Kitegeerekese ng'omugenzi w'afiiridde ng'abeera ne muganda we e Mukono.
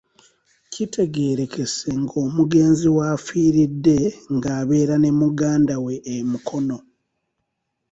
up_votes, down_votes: 2, 0